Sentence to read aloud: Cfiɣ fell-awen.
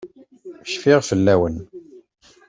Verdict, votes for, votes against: accepted, 2, 0